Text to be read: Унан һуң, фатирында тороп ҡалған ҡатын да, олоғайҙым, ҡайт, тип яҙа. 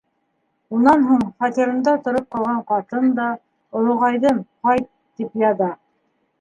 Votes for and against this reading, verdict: 2, 0, accepted